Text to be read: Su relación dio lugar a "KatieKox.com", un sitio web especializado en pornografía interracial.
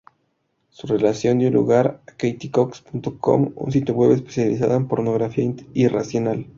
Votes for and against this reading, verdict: 0, 4, rejected